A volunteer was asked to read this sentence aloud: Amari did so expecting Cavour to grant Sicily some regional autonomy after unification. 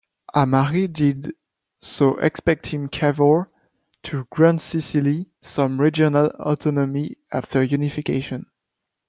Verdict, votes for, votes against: accepted, 2, 0